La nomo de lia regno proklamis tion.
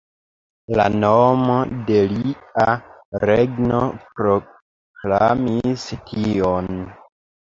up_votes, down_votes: 2, 1